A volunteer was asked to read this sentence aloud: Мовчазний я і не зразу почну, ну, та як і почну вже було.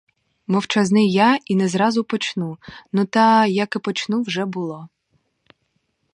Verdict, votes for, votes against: rejected, 0, 2